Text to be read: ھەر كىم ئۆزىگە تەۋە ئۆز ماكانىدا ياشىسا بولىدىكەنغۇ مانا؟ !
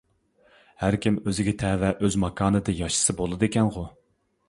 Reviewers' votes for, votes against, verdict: 0, 2, rejected